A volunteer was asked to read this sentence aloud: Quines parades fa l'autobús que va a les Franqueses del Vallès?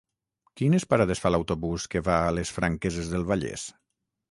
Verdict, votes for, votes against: accepted, 9, 0